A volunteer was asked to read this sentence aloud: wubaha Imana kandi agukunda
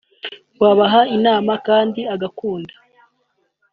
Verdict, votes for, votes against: rejected, 1, 2